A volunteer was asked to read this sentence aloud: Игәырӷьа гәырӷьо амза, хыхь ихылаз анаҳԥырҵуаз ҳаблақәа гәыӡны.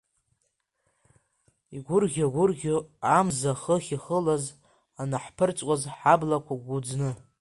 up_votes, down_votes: 2, 1